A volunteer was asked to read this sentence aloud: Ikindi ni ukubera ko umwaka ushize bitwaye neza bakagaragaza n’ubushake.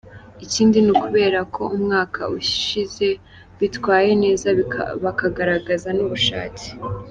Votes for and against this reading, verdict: 0, 2, rejected